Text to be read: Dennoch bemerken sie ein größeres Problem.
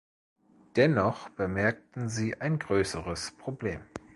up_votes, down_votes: 1, 2